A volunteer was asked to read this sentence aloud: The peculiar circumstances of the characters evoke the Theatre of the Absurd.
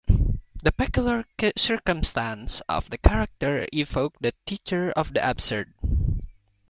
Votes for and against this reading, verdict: 1, 2, rejected